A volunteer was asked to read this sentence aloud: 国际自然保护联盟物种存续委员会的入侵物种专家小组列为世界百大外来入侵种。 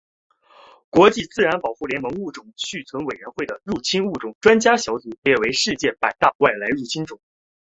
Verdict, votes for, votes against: rejected, 1, 2